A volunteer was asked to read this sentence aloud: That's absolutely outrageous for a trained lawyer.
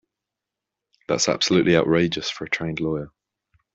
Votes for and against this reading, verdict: 2, 0, accepted